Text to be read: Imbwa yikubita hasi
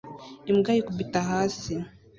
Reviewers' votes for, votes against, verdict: 2, 0, accepted